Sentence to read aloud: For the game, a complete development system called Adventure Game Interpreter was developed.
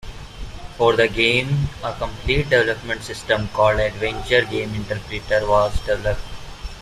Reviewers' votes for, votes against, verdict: 2, 0, accepted